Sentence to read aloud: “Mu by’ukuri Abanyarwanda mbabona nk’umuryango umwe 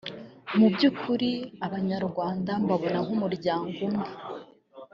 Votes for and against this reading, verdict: 1, 2, rejected